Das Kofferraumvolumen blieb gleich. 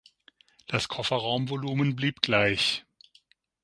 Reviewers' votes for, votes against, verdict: 6, 0, accepted